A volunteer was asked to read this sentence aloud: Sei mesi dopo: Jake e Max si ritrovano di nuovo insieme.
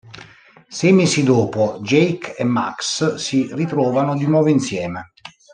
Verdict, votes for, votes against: accepted, 2, 0